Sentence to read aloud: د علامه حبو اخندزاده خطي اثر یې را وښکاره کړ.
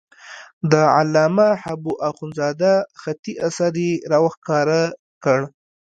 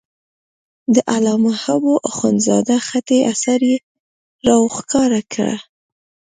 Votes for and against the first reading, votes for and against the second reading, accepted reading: 1, 2, 2, 1, second